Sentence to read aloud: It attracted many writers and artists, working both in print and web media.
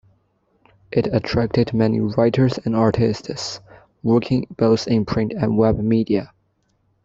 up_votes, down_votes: 2, 0